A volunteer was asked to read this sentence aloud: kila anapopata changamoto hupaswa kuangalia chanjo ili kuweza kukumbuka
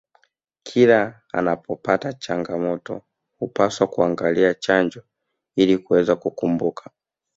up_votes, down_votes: 1, 2